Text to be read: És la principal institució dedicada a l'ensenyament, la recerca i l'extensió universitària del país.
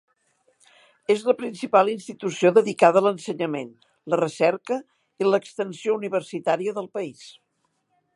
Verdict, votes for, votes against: accepted, 3, 0